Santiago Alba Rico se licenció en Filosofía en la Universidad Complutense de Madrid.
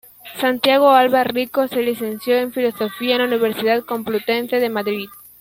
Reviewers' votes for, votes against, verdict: 2, 0, accepted